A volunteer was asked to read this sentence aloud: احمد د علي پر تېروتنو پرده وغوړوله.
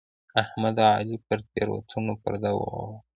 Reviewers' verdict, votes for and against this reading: rejected, 0, 2